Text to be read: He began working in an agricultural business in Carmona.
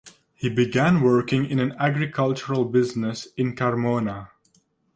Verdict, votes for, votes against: accepted, 2, 0